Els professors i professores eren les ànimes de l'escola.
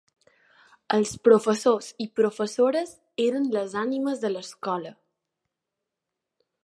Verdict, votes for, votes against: accepted, 2, 0